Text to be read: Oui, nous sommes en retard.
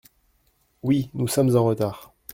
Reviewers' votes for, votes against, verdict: 2, 0, accepted